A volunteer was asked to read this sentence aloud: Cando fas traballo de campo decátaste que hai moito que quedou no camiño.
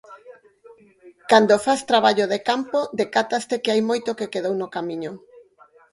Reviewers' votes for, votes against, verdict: 4, 2, accepted